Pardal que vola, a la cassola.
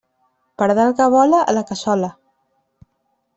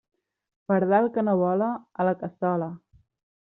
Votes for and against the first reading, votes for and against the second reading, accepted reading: 2, 0, 0, 3, first